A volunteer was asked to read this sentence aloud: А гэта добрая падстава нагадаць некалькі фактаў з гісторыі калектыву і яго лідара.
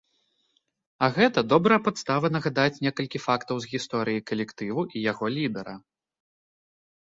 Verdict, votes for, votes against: accepted, 2, 0